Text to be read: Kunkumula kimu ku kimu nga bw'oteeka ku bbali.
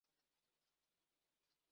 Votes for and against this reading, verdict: 0, 2, rejected